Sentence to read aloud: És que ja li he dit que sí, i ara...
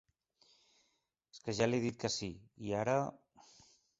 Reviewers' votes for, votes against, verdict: 1, 2, rejected